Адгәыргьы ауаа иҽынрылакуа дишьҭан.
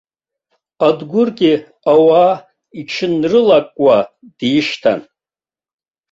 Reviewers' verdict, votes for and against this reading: accepted, 2, 1